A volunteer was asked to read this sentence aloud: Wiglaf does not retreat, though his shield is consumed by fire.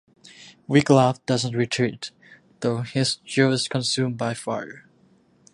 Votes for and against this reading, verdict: 1, 2, rejected